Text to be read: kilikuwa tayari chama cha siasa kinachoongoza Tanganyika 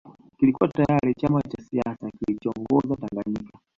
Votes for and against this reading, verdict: 2, 1, accepted